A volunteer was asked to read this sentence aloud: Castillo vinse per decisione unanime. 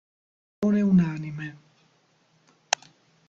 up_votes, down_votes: 0, 2